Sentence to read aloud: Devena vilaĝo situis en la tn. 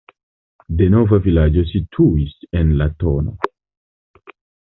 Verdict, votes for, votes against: rejected, 0, 2